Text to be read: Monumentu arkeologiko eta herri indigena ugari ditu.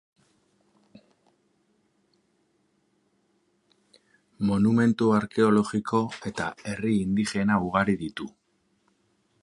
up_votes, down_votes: 0, 2